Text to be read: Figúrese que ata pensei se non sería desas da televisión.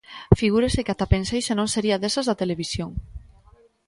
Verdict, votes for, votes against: accepted, 2, 0